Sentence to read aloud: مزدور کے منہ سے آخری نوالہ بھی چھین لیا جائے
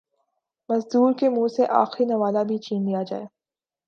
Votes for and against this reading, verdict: 6, 0, accepted